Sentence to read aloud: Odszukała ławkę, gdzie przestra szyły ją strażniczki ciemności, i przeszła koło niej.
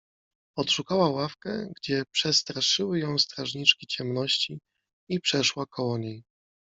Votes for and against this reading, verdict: 2, 1, accepted